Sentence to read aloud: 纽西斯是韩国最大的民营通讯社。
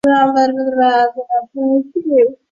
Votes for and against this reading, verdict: 0, 4, rejected